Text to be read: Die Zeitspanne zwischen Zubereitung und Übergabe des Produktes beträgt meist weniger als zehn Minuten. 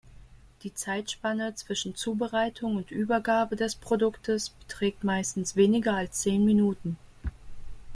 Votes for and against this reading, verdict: 0, 2, rejected